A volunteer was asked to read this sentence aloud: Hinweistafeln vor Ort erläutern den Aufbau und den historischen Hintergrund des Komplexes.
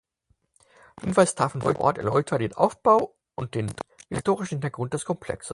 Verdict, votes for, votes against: rejected, 0, 4